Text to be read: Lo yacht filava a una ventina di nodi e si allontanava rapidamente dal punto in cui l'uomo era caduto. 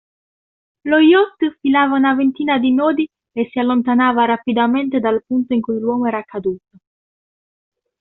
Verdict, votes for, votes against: rejected, 1, 2